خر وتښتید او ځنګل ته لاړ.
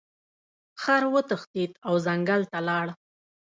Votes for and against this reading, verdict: 0, 2, rejected